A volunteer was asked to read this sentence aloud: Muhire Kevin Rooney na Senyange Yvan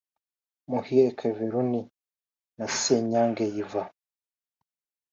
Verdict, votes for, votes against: accepted, 2, 0